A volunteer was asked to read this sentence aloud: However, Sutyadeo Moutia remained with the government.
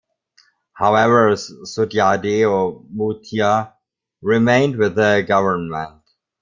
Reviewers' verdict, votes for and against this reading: rejected, 1, 2